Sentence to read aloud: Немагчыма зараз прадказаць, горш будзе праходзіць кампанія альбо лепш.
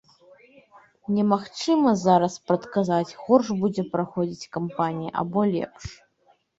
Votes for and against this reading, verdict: 1, 2, rejected